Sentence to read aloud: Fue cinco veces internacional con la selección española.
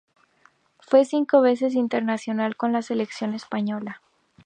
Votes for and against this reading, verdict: 2, 0, accepted